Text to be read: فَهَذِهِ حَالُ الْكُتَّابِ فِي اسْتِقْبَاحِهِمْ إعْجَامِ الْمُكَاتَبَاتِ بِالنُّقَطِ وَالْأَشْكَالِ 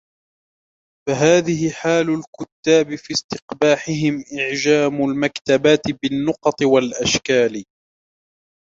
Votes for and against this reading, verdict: 1, 2, rejected